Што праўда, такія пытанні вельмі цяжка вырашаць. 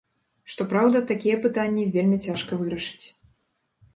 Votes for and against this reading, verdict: 1, 2, rejected